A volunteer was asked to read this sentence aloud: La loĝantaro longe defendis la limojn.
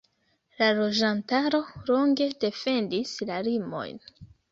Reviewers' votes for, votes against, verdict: 2, 1, accepted